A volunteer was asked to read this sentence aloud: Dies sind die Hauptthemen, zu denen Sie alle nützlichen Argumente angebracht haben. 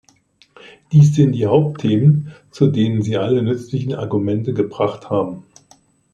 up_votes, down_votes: 0, 2